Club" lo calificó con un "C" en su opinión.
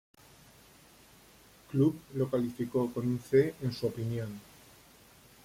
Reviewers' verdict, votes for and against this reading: accepted, 2, 0